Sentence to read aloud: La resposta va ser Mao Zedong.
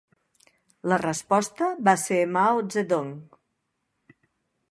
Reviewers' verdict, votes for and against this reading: accepted, 3, 0